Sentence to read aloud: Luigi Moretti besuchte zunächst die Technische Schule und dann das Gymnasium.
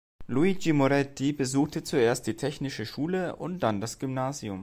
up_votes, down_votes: 1, 2